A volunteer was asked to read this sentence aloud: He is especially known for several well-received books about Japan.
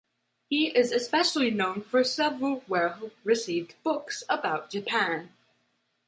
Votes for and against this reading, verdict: 2, 0, accepted